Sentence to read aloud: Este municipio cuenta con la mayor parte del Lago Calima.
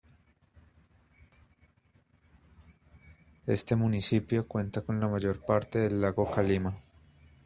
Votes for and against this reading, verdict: 2, 0, accepted